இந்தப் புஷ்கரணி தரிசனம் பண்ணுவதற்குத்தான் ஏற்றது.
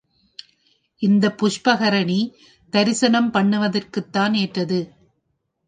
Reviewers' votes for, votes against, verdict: 1, 4, rejected